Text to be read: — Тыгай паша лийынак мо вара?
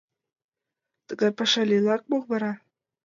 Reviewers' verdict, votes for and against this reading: accepted, 2, 1